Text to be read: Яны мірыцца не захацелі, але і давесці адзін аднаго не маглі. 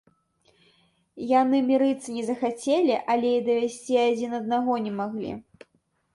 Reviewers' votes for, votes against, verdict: 0, 2, rejected